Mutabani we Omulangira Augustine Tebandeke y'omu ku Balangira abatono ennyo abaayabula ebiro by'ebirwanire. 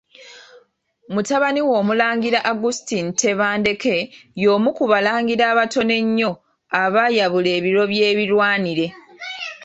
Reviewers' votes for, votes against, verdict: 2, 0, accepted